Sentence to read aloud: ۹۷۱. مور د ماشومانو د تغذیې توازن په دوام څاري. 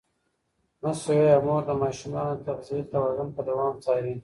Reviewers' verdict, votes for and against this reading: rejected, 0, 2